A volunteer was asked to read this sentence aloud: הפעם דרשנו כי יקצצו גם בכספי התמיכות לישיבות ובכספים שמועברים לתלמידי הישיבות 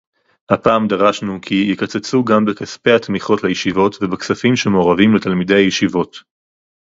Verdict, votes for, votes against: rejected, 2, 2